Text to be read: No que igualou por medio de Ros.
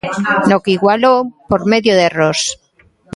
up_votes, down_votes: 0, 2